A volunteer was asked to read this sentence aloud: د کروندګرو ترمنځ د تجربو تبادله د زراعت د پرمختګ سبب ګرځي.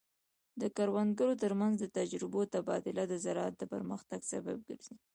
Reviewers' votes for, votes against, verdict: 0, 2, rejected